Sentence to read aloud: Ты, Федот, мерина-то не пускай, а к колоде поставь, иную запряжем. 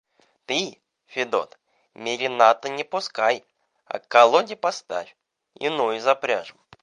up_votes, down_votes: 0, 2